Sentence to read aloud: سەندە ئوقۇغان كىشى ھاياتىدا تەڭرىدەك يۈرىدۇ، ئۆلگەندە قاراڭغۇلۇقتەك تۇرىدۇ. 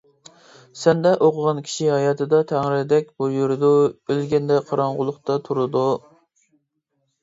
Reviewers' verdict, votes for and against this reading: rejected, 1, 2